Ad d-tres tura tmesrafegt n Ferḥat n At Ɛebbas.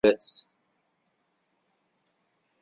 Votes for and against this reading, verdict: 1, 2, rejected